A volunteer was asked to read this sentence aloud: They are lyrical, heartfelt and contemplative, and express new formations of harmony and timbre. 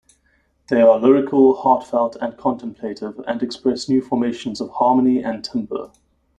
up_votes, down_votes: 2, 0